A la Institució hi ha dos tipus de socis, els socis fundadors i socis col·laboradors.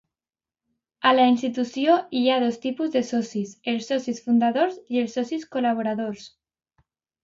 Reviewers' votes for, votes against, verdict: 0, 2, rejected